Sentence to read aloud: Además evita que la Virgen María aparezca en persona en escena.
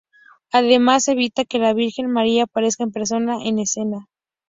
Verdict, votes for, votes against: accepted, 2, 0